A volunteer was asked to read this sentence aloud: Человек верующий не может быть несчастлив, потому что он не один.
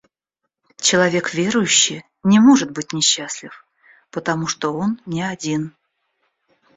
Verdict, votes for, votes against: accepted, 2, 0